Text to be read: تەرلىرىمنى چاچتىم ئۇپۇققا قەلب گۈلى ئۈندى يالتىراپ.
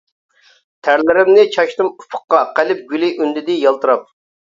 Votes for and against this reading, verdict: 0, 2, rejected